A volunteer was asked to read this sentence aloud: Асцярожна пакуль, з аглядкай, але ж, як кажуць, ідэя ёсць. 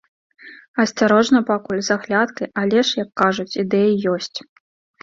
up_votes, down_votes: 2, 0